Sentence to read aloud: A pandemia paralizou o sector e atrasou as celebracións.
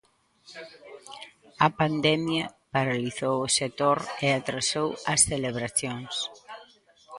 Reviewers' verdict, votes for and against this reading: rejected, 0, 2